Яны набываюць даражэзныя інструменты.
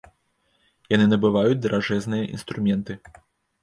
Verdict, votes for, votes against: rejected, 1, 2